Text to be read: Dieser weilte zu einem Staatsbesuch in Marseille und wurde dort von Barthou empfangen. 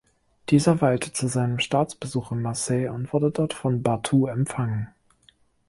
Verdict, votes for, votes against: rejected, 1, 2